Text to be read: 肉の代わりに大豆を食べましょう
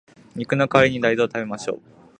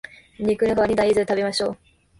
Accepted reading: first